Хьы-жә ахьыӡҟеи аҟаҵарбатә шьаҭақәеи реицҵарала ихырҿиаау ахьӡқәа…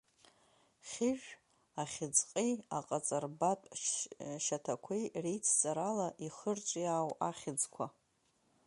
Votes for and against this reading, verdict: 1, 2, rejected